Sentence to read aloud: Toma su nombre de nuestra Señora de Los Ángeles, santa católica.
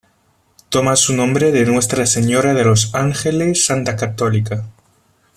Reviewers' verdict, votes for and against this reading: accepted, 2, 0